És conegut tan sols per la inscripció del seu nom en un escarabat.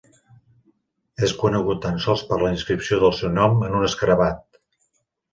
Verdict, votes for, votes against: accepted, 3, 0